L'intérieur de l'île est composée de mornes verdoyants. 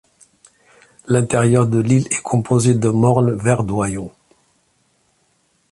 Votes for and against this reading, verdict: 1, 2, rejected